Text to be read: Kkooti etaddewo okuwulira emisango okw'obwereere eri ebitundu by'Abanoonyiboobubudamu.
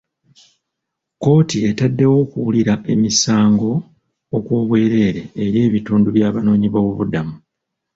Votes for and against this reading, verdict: 2, 0, accepted